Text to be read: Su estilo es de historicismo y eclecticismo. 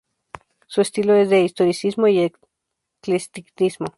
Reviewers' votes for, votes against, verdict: 0, 2, rejected